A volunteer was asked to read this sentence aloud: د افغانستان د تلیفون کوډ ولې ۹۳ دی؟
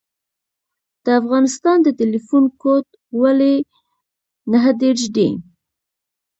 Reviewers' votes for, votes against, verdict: 0, 2, rejected